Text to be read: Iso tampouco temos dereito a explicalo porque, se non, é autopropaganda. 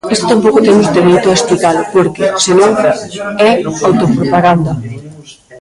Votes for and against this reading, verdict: 0, 2, rejected